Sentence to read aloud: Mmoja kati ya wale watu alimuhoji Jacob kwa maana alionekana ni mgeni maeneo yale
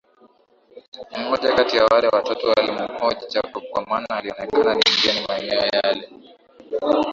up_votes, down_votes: 3, 4